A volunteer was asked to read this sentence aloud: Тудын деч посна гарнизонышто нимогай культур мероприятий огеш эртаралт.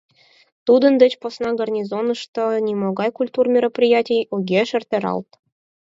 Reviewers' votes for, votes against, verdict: 4, 0, accepted